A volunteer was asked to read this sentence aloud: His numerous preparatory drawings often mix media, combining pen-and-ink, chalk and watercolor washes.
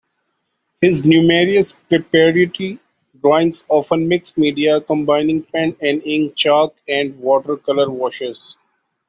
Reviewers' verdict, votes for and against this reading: rejected, 0, 2